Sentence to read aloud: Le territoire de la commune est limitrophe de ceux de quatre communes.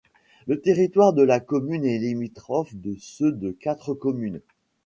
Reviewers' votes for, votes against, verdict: 2, 1, accepted